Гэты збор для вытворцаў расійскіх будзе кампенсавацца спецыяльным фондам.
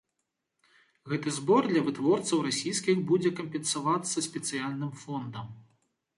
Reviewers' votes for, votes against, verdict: 2, 0, accepted